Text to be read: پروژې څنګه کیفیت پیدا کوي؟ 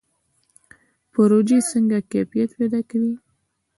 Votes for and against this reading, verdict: 2, 0, accepted